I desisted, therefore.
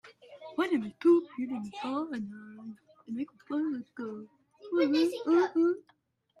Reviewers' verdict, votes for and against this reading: rejected, 0, 2